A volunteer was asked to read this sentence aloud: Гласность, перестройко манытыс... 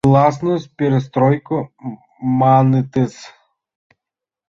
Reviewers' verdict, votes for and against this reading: rejected, 1, 2